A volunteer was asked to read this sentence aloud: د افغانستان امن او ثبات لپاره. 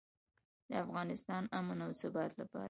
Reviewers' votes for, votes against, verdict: 2, 1, accepted